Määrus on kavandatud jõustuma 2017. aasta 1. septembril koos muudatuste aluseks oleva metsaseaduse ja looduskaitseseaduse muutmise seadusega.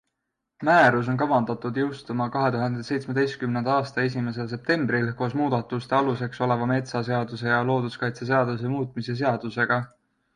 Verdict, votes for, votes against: rejected, 0, 2